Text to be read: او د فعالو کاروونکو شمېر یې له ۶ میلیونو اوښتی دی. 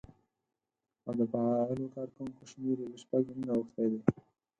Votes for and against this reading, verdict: 0, 2, rejected